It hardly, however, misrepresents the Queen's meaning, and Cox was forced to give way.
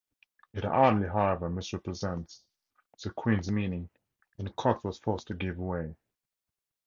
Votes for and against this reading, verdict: 4, 0, accepted